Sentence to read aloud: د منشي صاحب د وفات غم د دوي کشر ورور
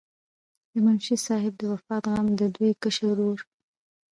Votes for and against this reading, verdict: 0, 2, rejected